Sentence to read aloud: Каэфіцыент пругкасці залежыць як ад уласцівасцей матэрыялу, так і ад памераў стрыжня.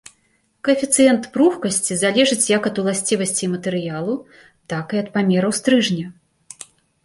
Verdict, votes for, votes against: accepted, 2, 0